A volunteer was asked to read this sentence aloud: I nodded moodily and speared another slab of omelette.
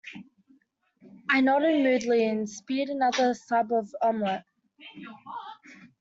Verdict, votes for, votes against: rejected, 0, 2